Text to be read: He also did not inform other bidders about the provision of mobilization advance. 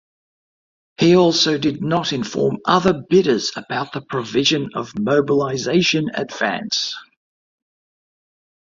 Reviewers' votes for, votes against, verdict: 2, 1, accepted